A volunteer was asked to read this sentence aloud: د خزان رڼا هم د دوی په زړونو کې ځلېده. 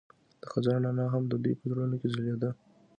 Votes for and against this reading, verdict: 2, 0, accepted